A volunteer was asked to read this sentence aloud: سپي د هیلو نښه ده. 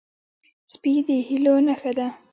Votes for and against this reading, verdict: 1, 2, rejected